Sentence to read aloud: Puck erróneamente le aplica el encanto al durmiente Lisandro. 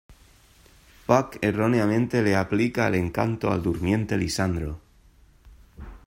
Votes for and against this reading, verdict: 2, 0, accepted